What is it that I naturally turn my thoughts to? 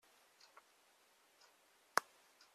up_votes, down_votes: 0, 2